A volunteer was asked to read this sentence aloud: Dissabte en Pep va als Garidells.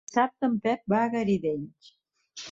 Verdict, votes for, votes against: rejected, 0, 2